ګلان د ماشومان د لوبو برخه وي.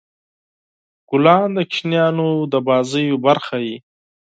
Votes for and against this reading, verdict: 4, 2, accepted